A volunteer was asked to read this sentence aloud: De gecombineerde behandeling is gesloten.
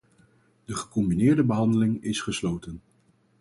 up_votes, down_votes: 4, 0